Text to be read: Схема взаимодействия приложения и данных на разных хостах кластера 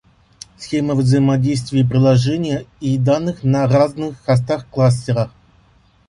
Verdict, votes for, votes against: rejected, 1, 2